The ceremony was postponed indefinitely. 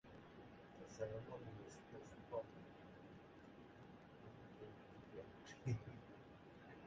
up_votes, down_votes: 0, 2